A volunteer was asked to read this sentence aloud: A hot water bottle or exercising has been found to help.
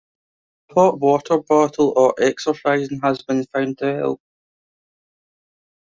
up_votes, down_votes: 2, 1